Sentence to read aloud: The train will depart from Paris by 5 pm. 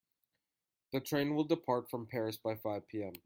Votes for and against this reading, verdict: 0, 2, rejected